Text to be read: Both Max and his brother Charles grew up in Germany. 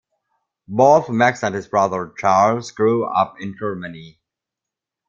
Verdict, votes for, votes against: accepted, 2, 0